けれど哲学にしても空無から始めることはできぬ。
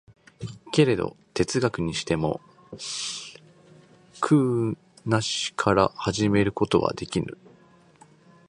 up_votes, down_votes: 1, 2